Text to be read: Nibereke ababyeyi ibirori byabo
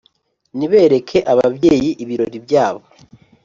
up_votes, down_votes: 2, 0